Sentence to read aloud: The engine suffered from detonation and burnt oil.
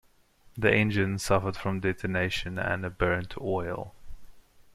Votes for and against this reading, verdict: 2, 0, accepted